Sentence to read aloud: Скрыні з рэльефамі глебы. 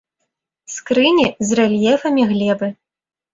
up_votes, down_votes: 2, 0